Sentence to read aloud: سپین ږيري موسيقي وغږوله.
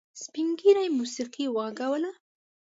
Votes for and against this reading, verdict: 2, 0, accepted